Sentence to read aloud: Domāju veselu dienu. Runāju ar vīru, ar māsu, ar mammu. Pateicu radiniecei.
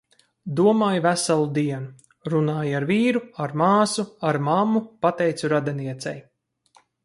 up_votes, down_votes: 4, 0